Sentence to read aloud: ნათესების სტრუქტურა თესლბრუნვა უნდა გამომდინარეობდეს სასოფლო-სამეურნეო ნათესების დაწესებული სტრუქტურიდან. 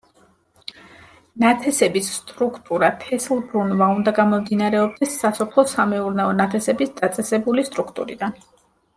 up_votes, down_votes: 2, 1